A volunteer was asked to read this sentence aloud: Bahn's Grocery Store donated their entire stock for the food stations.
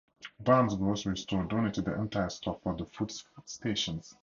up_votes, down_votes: 2, 0